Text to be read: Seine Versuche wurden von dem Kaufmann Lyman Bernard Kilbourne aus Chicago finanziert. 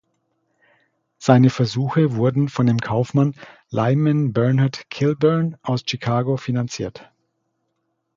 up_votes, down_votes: 2, 0